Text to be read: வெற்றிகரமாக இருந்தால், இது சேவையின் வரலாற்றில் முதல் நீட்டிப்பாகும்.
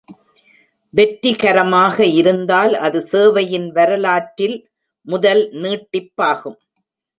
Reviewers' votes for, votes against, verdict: 0, 2, rejected